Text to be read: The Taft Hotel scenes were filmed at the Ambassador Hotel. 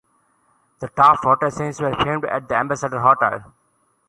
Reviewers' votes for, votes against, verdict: 0, 2, rejected